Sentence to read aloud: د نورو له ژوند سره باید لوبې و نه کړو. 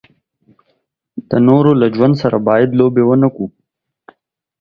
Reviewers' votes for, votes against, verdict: 2, 0, accepted